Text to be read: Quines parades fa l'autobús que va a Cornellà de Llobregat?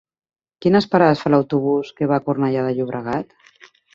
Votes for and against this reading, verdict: 3, 0, accepted